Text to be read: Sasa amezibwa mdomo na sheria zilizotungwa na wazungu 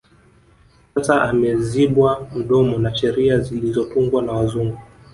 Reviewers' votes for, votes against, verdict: 2, 0, accepted